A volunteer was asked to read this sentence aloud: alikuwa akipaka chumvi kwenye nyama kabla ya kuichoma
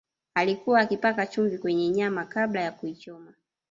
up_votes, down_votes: 0, 2